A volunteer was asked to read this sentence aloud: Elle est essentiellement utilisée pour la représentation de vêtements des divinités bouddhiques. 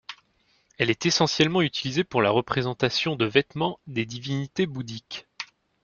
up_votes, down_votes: 2, 0